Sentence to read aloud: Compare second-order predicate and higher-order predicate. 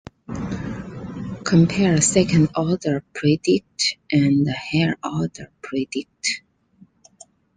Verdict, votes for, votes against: rejected, 0, 2